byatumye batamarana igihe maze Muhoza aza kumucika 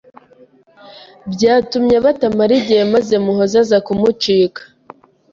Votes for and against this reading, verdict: 0, 2, rejected